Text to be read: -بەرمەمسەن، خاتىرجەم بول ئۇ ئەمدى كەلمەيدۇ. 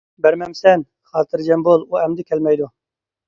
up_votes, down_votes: 2, 0